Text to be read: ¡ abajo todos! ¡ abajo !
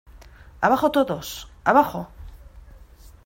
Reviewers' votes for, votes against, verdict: 2, 0, accepted